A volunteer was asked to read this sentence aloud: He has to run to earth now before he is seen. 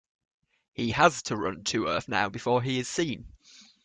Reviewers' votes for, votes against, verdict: 2, 0, accepted